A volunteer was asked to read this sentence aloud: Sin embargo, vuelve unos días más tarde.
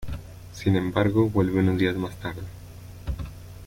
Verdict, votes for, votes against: accepted, 2, 0